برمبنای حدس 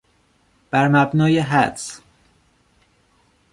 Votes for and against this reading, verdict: 2, 0, accepted